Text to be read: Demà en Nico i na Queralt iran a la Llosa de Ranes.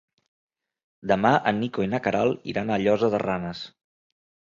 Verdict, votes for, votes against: rejected, 2, 3